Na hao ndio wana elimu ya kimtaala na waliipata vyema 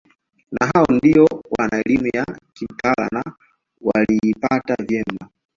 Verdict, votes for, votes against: accepted, 2, 1